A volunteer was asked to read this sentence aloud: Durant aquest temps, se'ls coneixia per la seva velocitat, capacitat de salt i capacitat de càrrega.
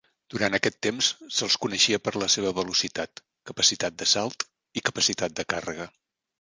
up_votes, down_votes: 4, 0